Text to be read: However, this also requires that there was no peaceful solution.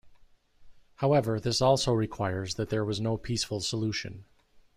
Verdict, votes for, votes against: rejected, 0, 2